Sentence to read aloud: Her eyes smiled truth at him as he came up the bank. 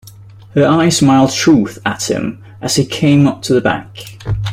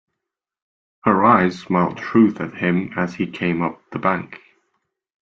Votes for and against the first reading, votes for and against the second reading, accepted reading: 0, 2, 2, 0, second